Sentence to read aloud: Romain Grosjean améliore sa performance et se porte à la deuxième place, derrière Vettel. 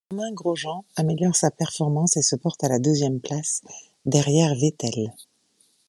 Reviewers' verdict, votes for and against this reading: rejected, 1, 2